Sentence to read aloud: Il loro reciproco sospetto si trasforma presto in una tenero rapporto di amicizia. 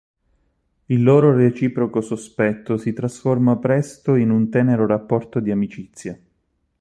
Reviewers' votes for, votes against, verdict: 0, 4, rejected